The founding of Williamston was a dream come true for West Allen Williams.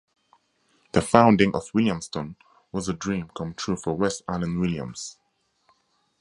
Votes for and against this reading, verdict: 4, 0, accepted